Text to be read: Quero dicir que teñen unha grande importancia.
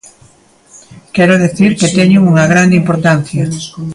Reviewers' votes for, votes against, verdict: 0, 2, rejected